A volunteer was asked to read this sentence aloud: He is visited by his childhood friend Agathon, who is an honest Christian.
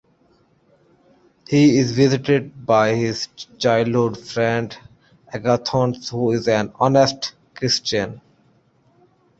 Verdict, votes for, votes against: accepted, 2, 0